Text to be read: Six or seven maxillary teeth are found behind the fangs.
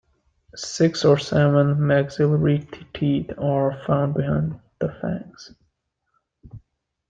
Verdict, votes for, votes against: rejected, 0, 2